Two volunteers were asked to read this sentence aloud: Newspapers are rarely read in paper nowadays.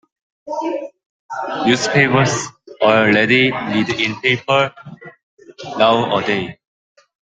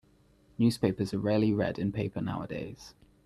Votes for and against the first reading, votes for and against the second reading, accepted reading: 0, 2, 2, 0, second